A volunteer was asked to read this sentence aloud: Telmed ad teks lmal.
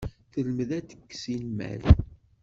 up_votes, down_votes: 1, 2